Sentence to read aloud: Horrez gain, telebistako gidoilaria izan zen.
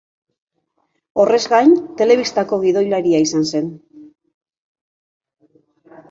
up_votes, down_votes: 2, 0